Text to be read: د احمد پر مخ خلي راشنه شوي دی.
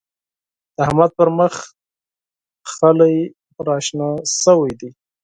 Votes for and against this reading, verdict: 2, 4, rejected